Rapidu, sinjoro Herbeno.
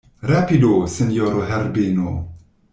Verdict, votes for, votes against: rejected, 1, 2